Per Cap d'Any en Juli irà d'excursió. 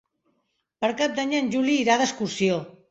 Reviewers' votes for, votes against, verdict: 3, 1, accepted